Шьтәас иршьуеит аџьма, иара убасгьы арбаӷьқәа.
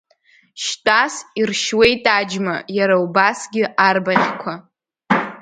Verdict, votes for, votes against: accepted, 3, 0